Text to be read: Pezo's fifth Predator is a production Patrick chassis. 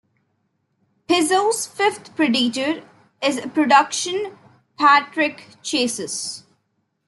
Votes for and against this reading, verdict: 1, 2, rejected